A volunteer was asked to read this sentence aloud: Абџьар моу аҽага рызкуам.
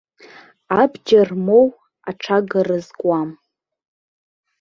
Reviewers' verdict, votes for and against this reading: accepted, 2, 0